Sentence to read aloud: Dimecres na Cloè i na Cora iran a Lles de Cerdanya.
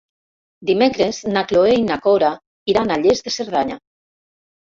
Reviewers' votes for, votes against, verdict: 3, 0, accepted